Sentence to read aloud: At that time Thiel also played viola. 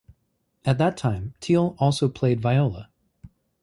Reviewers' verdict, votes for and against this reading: accepted, 2, 0